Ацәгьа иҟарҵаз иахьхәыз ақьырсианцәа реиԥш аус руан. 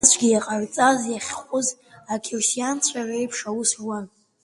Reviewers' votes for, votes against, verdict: 0, 2, rejected